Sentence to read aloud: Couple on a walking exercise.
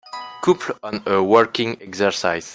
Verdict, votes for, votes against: rejected, 1, 2